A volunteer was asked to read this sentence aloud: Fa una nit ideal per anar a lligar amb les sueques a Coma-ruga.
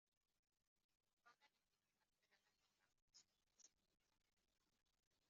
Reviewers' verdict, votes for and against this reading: rejected, 0, 2